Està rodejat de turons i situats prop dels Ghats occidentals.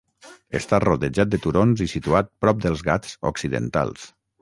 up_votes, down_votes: 0, 6